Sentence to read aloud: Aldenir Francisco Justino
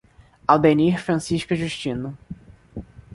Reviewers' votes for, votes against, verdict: 2, 0, accepted